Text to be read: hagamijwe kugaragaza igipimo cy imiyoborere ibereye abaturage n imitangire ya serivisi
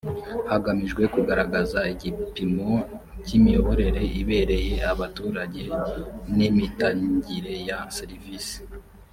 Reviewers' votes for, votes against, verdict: 1, 2, rejected